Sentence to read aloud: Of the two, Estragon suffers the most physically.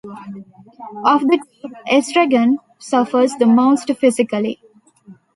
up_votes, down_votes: 1, 2